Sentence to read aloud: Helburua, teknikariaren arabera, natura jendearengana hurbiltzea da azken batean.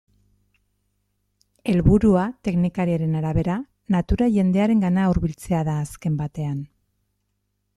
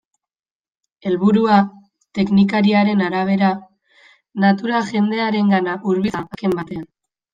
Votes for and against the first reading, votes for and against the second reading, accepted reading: 2, 0, 0, 2, first